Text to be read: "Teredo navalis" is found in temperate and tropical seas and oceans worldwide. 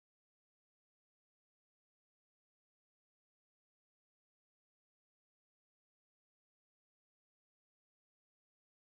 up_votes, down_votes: 0, 4